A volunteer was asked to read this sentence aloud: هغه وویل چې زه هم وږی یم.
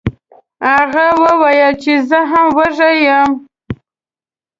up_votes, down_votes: 2, 0